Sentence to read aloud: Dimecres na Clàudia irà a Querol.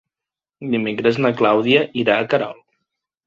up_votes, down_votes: 2, 0